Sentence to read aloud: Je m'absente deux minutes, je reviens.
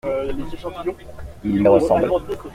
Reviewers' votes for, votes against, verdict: 0, 2, rejected